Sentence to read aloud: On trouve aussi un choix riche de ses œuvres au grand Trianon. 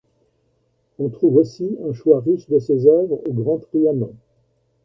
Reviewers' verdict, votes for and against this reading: accepted, 2, 0